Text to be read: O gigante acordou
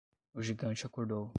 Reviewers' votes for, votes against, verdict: 10, 0, accepted